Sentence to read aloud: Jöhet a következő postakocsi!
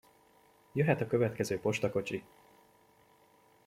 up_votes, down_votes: 2, 0